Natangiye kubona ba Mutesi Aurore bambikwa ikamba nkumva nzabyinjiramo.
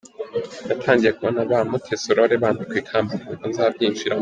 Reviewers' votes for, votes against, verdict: 2, 0, accepted